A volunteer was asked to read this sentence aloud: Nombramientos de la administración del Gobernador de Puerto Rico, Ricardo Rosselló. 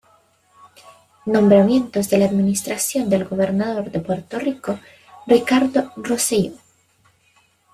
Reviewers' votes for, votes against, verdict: 1, 2, rejected